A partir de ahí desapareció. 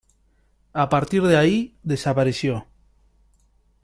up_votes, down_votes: 2, 1